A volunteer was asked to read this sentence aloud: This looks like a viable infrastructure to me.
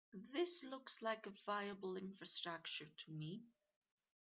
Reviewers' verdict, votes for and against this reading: accepted, 4, 1